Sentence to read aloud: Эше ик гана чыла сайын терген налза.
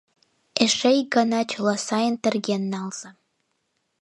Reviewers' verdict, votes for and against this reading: accepted, 2, 0